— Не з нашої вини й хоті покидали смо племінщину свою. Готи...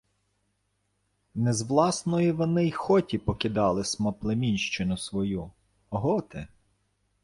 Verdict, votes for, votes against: rejected, 0, 2